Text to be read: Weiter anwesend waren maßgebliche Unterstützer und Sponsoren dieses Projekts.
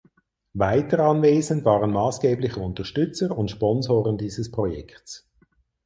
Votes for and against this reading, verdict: 4, 0, accepted